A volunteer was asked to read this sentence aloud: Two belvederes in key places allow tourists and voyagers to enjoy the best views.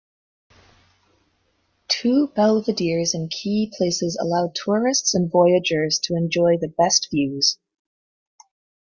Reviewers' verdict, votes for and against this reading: accepted, 2, 0